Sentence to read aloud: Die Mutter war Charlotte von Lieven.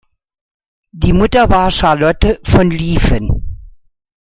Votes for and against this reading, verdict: 2, 0, accepted